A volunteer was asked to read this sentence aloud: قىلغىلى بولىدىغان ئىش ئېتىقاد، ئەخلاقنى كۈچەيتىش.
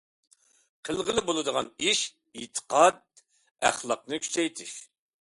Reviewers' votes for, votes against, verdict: 2, 0, accepted